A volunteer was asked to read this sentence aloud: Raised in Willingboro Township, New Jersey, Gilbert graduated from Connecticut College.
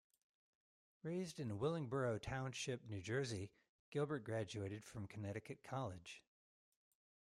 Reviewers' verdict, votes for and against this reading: accepted, 2, 0